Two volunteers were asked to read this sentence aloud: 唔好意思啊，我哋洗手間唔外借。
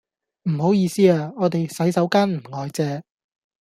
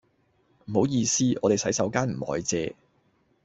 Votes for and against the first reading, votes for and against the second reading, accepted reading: 2, 0, 1, 2, first